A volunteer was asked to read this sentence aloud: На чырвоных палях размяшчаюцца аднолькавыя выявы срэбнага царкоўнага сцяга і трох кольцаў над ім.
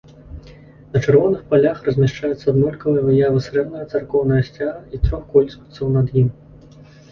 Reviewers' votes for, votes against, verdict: 0, 2, rejected